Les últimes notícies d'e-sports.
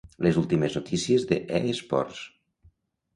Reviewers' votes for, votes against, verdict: 1, 2, rejected